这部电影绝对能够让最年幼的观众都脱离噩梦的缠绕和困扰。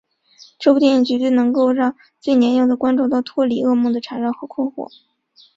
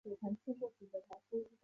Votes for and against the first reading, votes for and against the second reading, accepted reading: 4, 0, 1, 6, first